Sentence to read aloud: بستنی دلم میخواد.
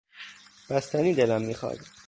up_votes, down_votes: 2, 0